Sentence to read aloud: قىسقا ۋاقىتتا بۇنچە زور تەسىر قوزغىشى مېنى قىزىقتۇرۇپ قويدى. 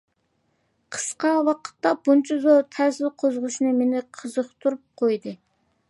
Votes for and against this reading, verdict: 2, 1, accepted